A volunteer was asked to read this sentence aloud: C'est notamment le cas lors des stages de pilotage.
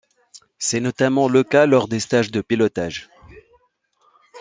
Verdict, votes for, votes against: accepted, 2, 0